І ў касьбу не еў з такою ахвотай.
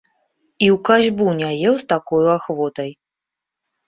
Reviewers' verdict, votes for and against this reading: accepted, 2, 0